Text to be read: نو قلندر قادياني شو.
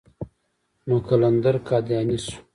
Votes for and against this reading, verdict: 2, 0, accepted